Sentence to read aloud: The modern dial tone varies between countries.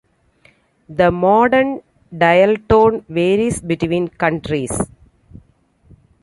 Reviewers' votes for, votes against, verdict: 0, 2, rejected